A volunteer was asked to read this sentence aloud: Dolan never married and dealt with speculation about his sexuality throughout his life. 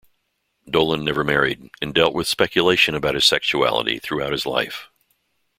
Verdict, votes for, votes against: accepted, 2, 0